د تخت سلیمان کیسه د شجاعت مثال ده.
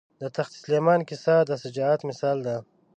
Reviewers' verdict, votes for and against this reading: accepted, 2, 0